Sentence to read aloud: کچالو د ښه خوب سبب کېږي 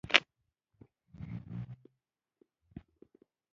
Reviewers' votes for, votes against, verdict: 1, 2, rejected